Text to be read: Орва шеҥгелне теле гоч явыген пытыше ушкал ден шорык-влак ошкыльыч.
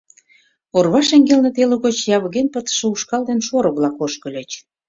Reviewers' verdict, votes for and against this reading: accepted, 2, 0